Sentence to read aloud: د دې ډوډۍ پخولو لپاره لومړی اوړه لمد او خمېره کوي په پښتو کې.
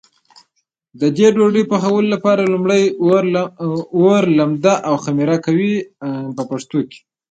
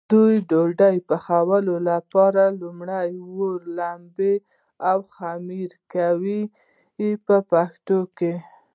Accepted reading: second